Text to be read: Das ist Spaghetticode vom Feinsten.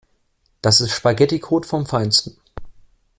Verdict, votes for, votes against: accepted, 2, 0